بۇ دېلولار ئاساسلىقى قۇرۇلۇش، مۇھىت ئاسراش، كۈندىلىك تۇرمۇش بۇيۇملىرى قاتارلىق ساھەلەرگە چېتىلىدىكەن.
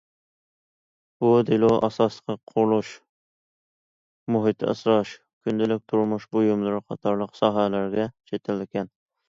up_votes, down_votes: 0, 2